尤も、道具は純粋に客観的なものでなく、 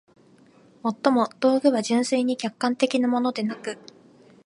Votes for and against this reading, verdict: 2, 0, accepted